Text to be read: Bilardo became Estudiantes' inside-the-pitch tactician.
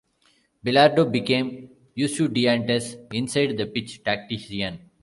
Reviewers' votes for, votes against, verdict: 0, 2, rejected